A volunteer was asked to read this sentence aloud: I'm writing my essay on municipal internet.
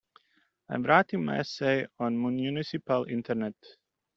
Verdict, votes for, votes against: rejected, 0, 2